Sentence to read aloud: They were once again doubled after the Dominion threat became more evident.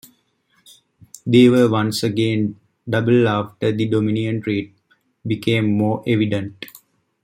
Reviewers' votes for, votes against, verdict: 2, 0, accepted